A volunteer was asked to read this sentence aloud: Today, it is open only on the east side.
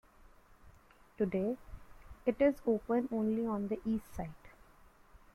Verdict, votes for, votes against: accepted, 2, 0